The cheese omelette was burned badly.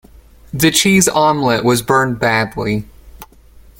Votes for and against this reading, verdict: 2, 0, accepted